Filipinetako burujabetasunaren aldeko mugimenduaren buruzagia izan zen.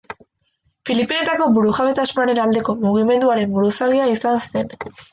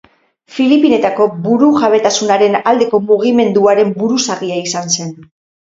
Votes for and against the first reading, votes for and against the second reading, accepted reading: 0, 2, 4, 2, second